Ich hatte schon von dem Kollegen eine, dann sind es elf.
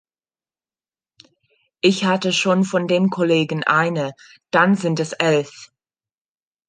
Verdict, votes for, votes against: accepted, 2, 0